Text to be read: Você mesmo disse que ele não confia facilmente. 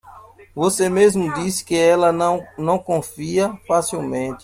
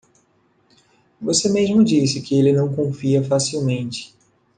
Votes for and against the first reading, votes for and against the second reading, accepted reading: 0, 2, 2, 0, second